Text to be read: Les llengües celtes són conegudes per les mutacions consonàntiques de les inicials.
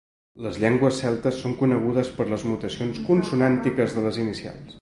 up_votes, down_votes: 2, 0